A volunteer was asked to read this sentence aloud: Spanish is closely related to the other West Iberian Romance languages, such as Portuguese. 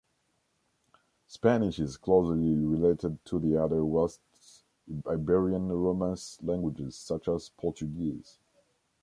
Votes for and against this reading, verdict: 0, 2, rejected